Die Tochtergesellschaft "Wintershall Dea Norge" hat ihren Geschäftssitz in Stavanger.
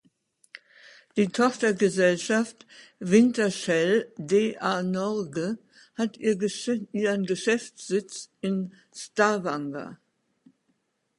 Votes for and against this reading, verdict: 0, 2, rejected